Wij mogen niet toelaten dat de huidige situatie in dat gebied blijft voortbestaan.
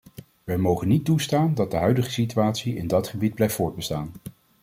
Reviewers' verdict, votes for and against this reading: accepted, 2, 1